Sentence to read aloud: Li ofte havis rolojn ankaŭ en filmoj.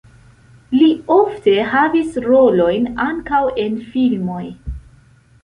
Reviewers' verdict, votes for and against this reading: accepted, 2, 0